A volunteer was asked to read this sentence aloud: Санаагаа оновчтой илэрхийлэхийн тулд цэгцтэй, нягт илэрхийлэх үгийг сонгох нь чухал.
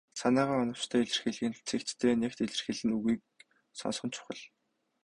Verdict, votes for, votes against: rejected, 0, 2